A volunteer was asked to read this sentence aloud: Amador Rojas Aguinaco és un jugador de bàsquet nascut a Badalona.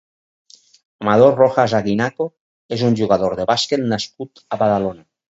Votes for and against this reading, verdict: 2, 2, rejected